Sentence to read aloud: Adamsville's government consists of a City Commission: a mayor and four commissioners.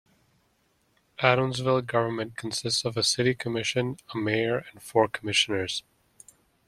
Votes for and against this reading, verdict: 1, 2, rejected